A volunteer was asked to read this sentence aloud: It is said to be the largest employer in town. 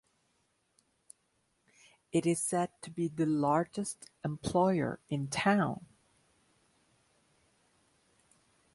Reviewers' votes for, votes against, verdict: 2, 0, accepted